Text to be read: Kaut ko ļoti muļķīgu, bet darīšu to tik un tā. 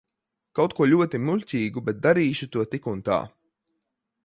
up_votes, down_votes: 2, 0